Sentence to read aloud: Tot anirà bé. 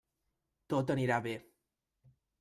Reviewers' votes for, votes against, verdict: 3, 0, accepted